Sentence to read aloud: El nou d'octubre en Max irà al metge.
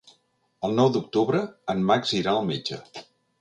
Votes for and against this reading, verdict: 3, 0, accepted